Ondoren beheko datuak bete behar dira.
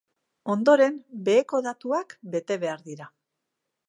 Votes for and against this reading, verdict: 3, 0, accepted